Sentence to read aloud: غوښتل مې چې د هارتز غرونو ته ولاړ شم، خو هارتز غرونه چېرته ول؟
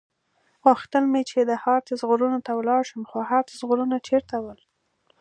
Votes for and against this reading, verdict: 2, 0, accepted